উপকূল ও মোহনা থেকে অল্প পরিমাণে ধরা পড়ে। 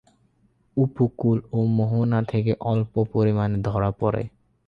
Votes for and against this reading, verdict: 12, 8, accepted